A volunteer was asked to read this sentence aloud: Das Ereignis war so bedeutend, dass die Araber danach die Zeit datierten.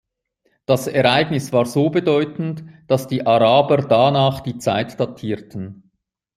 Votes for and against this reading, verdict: 2, 0, accepted